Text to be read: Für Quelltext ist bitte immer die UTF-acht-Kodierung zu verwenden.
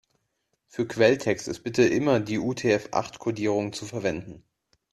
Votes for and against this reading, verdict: 2, 0, accepted